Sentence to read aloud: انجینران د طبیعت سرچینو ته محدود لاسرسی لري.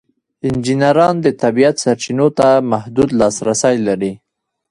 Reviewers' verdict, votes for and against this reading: rejected, 1, 2